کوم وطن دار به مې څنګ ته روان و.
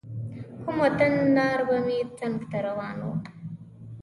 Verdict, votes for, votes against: rejected, 1, 2